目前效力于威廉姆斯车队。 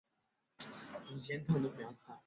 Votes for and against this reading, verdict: 0, 2, rejected